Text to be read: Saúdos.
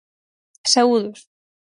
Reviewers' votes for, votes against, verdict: 4, 0, accepted